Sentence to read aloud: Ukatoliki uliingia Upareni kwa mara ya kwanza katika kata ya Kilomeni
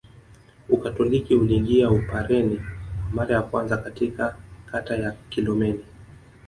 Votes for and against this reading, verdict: 0, 2, rejected